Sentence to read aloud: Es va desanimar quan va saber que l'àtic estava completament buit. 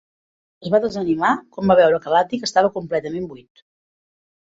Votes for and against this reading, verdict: 2, 3, rejected